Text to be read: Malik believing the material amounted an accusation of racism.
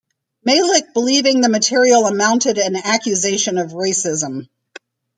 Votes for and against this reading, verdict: 1, 2, rejected